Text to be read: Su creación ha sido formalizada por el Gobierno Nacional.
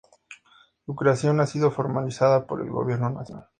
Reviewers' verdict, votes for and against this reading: accepted, 2, 0